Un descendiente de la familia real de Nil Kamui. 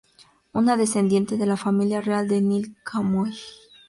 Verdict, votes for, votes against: rejected, 0, 2